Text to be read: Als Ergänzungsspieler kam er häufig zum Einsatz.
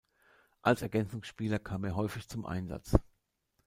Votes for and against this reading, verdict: 2, 0, accepted